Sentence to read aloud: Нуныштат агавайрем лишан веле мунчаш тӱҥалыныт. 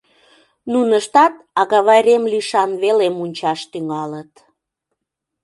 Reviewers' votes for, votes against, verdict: 1, 2, rejected